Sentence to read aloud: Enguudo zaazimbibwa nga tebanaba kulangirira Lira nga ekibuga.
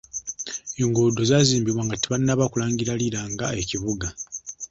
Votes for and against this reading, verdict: 2, 0, accepted